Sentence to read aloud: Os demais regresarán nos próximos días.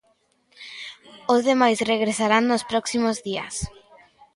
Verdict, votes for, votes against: accepted, 2, 0